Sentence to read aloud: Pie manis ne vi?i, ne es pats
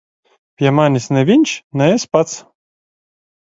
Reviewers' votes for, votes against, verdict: 0, 2, rejected